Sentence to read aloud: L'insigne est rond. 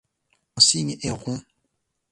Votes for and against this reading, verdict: 1, 2, rejected